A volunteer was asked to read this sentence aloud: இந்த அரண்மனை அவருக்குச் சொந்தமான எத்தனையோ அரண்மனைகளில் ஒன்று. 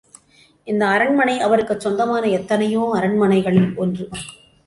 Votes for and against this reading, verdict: 2, 0, accepted